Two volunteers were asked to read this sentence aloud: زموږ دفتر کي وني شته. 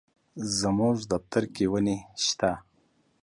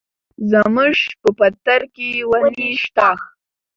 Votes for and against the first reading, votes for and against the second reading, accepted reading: 2, 0, 0, 2, first